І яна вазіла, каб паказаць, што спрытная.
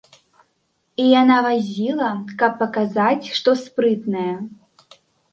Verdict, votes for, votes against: accepted, 2, 0